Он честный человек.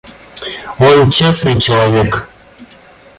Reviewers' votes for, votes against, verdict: 2, 0, accepted